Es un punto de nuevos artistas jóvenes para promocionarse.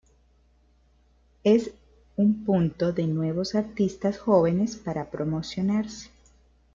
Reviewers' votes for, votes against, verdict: 2, 1, accepted